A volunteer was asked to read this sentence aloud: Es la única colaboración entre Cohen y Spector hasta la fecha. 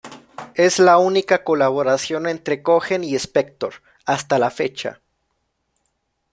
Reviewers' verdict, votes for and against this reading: accepted, 2, 1